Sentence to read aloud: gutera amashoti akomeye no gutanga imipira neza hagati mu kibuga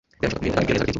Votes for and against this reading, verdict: 0, 2, rejected